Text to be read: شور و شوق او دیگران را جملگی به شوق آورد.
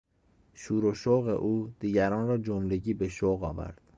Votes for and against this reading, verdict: 2, 0, accepted